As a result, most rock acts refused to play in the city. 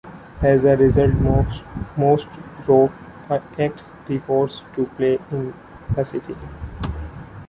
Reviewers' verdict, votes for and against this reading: rejected, 0, 2